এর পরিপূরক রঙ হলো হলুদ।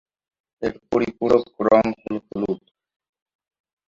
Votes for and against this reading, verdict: 0, 2, rejected